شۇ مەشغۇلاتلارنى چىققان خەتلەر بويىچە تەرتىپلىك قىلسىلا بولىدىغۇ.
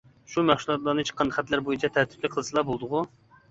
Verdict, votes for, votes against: rejected, 1, 2